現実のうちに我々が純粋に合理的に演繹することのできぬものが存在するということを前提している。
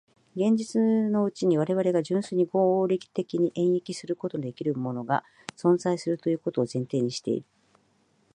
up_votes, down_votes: 2, 1